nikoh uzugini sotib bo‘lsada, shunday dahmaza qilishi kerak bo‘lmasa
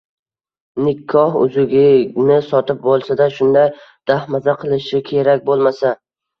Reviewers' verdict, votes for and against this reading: rejected, 0, 2